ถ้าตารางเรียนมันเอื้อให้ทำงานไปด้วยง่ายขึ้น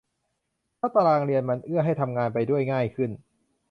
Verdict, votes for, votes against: accepted, 2, 0